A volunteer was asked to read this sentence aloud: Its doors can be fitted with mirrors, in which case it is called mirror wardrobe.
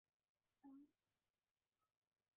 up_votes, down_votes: 0, 2